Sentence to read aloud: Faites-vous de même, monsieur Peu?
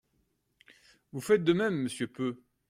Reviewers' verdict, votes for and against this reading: rejected, 0, 2